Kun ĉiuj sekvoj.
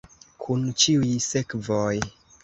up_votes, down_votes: 2, 0